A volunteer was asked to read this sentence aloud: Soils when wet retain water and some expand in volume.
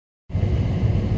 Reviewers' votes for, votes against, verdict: 0, 2, rejected